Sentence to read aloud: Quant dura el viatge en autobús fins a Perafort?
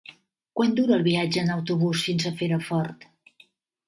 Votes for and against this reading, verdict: 2, 1, accepted